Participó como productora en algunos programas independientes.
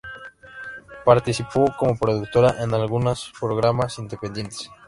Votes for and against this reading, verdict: 1, 2, rejected